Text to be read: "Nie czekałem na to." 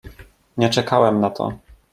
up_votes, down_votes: 2, 0